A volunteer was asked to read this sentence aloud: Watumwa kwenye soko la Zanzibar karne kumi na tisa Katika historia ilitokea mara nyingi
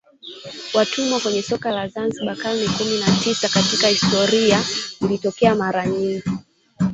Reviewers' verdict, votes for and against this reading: rejected, 0, 2